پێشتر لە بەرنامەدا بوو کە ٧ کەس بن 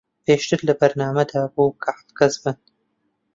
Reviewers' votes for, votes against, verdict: 0, 2, rejected